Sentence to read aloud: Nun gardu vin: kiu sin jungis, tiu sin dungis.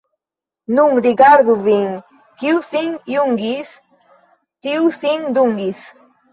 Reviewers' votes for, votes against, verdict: 1, 2, rejected